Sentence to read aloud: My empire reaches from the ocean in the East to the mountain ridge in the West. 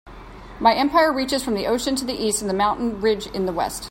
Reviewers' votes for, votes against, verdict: 2, 0, accepted